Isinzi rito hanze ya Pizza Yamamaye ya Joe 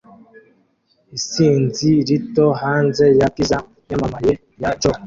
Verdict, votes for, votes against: rejected, 0, 2